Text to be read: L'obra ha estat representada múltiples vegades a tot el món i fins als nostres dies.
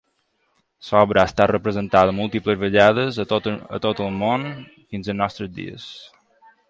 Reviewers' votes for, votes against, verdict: 1, 2, rejected